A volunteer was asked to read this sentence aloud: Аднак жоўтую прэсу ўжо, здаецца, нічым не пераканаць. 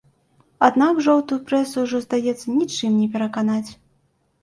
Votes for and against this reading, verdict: 2, 0, accepted